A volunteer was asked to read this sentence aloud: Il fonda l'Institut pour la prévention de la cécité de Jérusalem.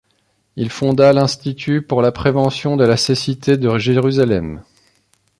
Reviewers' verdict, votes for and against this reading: accepted, 3, 0